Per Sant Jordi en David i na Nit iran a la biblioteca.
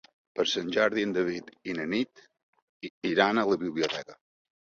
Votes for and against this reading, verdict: 3, 1, accepted